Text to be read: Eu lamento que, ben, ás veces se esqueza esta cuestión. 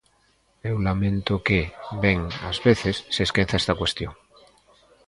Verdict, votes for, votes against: accepted, 3, 0